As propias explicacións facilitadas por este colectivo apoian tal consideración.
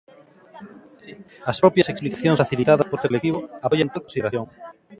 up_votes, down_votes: 0, 2